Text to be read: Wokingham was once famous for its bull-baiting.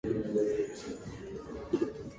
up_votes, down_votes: 0, 2